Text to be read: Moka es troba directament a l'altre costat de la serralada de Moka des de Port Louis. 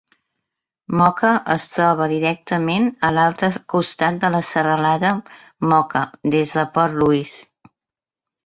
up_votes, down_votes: 0, 3